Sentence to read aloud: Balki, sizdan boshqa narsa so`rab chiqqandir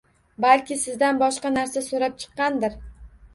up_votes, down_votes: 1, 2